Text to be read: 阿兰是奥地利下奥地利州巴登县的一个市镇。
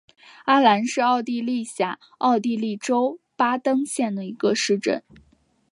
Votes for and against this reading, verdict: 3, 0, accepted